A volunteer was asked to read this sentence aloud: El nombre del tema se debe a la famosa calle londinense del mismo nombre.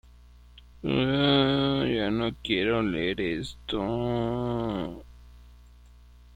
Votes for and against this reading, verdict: 0, 2, rejected